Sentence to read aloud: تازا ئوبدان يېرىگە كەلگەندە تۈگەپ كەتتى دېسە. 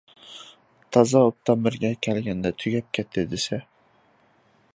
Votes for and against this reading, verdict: 2, 0, accepted